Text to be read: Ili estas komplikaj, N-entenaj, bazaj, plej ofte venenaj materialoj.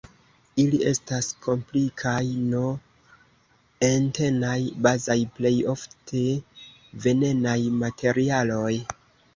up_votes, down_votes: 1, 2